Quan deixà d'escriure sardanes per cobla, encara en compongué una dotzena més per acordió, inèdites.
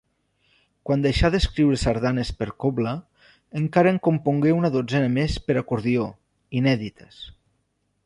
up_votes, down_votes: 2, 0